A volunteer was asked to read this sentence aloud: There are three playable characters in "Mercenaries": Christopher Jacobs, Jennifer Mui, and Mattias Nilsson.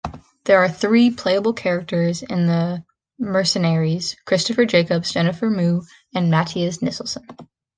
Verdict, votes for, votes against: rejected, 0, 2